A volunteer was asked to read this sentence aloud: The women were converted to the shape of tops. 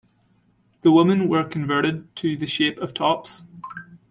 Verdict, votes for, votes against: rejected, 1, 2